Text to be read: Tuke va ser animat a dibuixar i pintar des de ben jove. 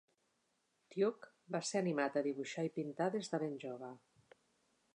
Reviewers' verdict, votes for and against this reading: accepted, 2, 0